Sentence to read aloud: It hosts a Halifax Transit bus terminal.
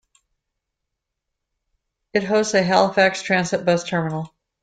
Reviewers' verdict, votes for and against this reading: accepted, 2, 0